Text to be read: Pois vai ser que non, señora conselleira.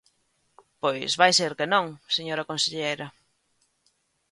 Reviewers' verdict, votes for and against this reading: rejected, 1, 2